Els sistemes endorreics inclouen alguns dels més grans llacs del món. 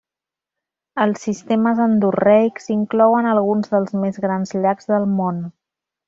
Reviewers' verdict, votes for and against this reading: rejected, 1, 2